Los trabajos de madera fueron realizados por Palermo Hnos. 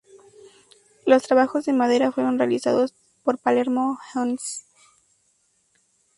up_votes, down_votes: 0, 4